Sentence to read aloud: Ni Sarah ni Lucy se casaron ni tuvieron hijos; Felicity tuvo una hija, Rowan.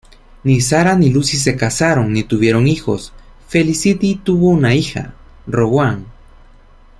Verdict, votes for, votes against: accepted, 2, 0